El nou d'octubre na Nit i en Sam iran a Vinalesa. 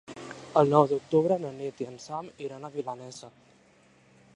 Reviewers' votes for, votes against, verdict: 2, 3, rejected